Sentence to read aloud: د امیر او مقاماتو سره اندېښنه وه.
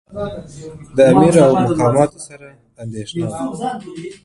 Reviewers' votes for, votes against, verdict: 1, 2, rejected